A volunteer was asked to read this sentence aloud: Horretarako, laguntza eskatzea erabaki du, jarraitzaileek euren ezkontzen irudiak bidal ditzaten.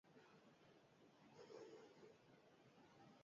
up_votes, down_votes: 0, 4